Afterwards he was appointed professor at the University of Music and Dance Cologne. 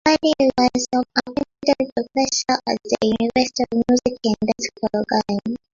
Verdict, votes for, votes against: rejected, 0, 2